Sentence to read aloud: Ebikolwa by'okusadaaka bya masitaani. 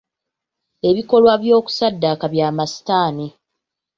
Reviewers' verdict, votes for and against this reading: rejected, 1, 2